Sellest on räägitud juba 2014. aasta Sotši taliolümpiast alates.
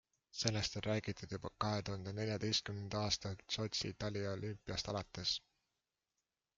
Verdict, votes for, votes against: rejected, 0, 2